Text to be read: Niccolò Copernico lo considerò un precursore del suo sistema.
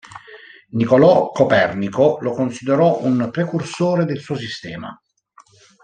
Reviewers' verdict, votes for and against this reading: accepted, 2, 1